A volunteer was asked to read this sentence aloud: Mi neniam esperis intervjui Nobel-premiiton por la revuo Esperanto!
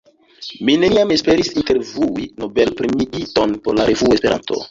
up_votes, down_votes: 1, 2